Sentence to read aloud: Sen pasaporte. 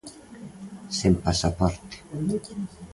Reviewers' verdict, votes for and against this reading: accepted, 3, 0